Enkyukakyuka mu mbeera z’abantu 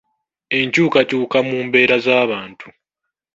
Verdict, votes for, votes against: accepted, 2, 0